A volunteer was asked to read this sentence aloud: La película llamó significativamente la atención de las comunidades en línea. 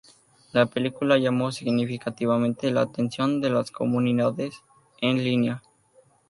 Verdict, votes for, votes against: rejected, 0, 4